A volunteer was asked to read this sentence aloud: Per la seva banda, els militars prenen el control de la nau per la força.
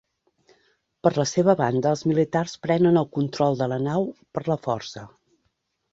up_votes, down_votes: 4, 0